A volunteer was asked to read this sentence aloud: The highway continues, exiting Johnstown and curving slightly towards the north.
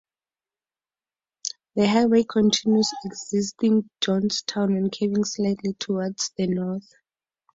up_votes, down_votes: 4, 0